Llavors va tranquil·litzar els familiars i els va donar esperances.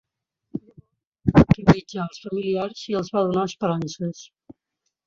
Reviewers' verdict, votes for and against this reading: rejected, 0, 2